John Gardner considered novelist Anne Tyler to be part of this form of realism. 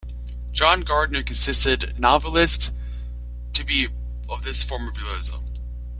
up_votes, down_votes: 0, 2